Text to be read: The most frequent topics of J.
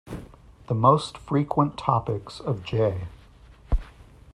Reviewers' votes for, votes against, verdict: 2, 0, accepted